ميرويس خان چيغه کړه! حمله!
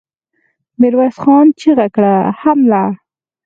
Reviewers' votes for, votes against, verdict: 4, 0, accepted